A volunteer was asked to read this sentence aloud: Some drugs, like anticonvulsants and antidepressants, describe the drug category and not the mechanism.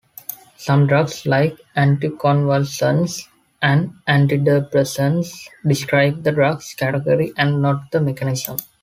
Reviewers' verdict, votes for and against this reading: accepted, 2, 1